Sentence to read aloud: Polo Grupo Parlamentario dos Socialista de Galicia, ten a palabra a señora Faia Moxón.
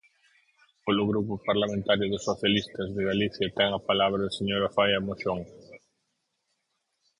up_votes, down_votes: 0, 4